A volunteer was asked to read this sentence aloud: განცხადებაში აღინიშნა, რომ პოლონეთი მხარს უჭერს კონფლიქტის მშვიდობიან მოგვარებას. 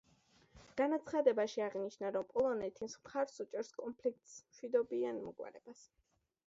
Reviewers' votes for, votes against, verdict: 1, 2, rejected